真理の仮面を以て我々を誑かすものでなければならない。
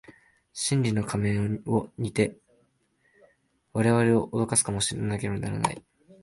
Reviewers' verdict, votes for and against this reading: rejected, 1, 2